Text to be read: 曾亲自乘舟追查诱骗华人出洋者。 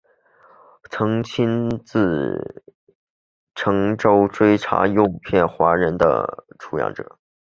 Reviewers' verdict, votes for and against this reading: accepted, 2, 1